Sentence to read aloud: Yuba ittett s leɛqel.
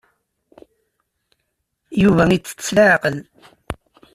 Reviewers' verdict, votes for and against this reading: accepted, 2, 0